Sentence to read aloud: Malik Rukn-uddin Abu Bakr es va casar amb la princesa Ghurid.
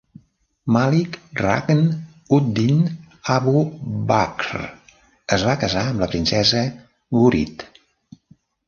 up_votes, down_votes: 0, 2